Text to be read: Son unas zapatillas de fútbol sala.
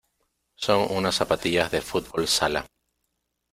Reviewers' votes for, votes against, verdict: 2, 0, accepted